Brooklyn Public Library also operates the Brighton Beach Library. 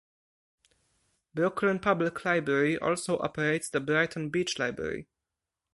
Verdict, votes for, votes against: accepted, 4, 0